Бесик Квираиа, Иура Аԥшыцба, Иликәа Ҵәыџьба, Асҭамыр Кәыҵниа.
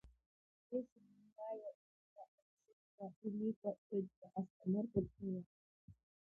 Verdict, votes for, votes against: rejected, 0, 2